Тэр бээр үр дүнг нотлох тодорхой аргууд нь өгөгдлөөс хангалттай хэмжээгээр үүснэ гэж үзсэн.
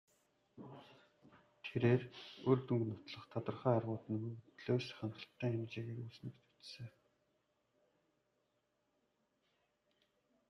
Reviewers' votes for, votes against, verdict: 1, 2, rejected